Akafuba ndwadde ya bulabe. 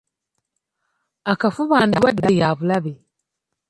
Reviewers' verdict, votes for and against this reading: rejected, 1, 2